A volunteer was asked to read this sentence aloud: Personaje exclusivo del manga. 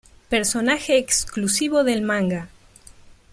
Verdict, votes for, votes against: accepted, 2, 0